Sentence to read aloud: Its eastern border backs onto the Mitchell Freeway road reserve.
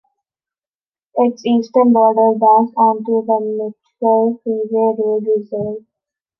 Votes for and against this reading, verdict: 1, 2, rejected